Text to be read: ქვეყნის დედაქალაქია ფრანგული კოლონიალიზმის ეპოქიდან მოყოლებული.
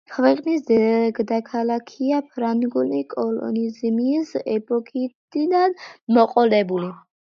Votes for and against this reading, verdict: 1, 2, rejected